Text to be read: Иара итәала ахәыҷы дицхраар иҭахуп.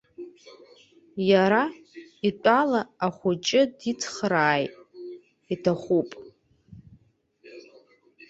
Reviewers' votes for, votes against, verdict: 0, 2, rejected